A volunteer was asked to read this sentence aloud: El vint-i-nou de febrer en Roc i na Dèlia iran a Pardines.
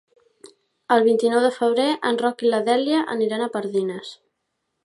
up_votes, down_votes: 1, 3